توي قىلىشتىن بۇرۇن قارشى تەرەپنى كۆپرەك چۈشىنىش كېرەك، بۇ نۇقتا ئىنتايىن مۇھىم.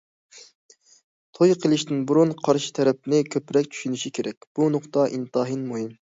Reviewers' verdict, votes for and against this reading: accepted, 2, 0